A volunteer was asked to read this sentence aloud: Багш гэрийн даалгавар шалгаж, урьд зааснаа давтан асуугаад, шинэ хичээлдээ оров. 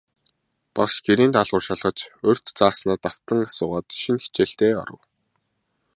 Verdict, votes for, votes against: accepted, 2, 0